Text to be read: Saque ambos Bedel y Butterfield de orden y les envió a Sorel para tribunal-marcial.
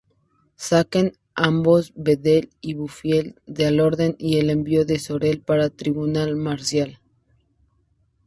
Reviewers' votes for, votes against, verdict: 0, 2, rejected